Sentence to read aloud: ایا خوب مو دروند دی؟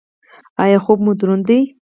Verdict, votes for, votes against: rejected, 2, 4